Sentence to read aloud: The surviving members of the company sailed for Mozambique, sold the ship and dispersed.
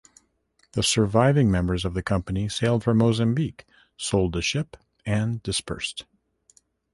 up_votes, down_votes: 2, 0